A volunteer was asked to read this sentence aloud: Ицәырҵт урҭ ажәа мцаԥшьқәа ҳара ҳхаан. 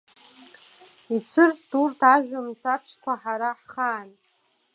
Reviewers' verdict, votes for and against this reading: accepted, 2, 0